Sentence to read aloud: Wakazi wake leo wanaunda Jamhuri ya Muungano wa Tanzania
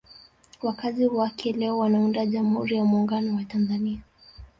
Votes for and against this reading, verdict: 1, 2, rejected